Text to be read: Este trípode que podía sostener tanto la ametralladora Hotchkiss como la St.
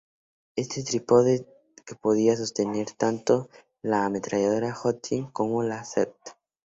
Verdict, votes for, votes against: accepted, 2, 0